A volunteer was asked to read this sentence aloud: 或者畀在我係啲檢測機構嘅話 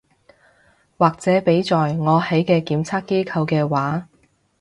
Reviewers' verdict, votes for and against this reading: rejected, 0, 2